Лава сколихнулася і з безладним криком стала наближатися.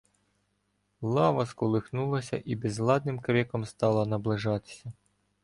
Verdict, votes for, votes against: rejected, 0, 2